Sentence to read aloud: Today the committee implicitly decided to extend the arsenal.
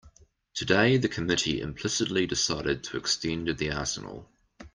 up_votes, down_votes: 2, 0